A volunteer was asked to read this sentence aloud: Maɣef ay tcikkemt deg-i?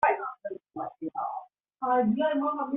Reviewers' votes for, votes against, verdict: 0, 2, rejected